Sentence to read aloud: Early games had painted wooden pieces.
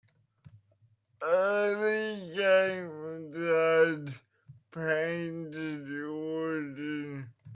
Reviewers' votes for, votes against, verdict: 0, 2, rejected